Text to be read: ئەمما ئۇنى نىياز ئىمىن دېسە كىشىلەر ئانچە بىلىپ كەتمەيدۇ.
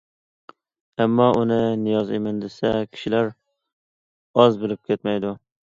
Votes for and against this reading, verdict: 0, 2, rejected